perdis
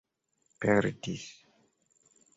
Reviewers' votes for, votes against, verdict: 2, 0, accepted